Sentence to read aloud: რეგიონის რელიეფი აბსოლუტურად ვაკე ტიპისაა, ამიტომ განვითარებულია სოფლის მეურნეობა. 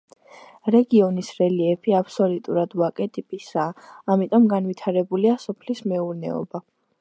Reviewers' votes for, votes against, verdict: 2, 1, accepted